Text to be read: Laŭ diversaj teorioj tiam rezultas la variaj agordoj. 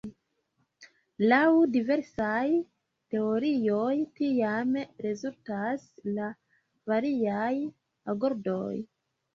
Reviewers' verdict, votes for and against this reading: rejected, 0, 2